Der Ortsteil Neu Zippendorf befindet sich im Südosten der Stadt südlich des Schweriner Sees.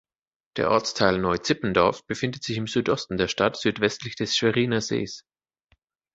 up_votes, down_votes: 0, 2